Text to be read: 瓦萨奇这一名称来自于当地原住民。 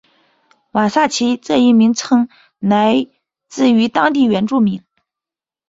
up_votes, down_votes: 2, 1